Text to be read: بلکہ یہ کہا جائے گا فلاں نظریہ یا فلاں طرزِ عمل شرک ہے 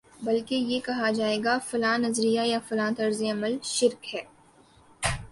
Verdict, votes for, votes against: rejected, 1, 2